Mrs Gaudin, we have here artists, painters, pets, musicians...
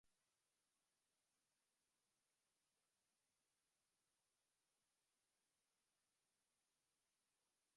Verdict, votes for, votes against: rejected, 0, 2